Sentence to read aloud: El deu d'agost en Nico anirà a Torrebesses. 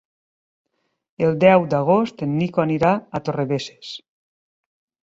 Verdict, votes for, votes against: accepted, 3, 0